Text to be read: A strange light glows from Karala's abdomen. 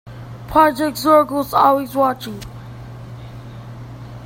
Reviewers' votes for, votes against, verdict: 0, 2, rejected